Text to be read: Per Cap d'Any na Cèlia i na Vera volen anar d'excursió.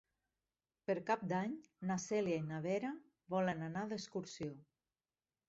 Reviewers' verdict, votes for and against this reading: accepted, 3, 0